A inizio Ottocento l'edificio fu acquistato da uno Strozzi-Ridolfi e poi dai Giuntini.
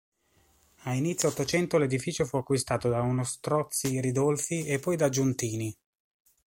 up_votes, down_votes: 2, 0